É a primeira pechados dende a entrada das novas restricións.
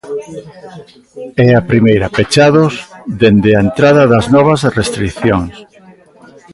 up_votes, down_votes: 0, 2